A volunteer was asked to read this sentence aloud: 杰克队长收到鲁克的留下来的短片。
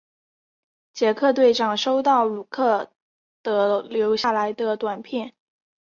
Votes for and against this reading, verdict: 2, 0, accepted